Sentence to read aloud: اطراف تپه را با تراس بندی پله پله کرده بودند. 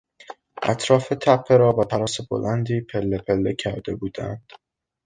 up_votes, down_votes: 0, 2